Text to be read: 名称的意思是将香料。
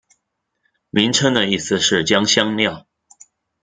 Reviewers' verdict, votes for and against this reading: accepted, 2, 0